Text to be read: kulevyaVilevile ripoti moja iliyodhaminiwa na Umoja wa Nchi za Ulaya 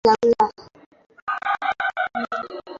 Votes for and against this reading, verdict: 0, 2, rejected